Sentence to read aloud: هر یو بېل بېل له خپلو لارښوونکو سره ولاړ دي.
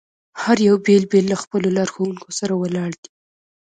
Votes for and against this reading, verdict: 2, 0, accepted